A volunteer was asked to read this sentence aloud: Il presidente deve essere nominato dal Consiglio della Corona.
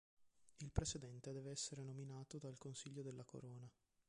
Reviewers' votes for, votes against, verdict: 0, 2, rejected